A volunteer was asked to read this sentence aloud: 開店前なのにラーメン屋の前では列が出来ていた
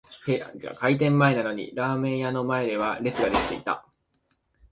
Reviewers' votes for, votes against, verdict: 6, 2, accepted